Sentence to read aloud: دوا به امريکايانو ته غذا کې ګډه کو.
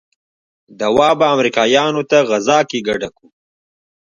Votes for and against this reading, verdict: 1, 2, rejected